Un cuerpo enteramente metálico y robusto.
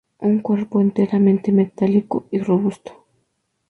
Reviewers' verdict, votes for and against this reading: accepted, 2, 0